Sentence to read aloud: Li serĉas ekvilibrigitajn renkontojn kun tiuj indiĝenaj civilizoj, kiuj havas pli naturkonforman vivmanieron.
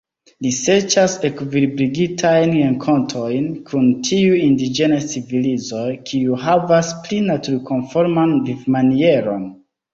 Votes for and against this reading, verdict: 2, 0, accepted